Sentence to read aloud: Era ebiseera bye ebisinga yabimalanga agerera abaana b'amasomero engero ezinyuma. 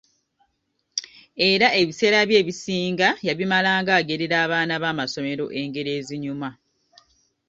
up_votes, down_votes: 2, 0